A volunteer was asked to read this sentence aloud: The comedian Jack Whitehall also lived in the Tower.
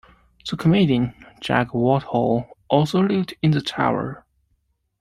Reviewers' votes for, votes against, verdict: 2, 1, accepted